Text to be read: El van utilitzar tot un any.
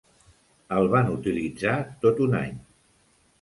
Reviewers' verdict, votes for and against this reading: accepted, 3, 0